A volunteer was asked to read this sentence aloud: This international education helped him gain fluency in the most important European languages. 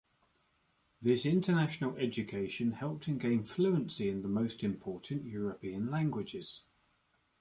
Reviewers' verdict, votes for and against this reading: accepted, 2, 0